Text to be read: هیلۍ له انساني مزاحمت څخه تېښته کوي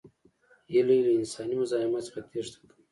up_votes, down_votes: 2, 1